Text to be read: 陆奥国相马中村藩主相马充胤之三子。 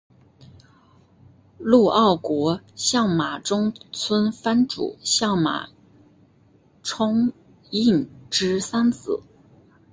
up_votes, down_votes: 5, 0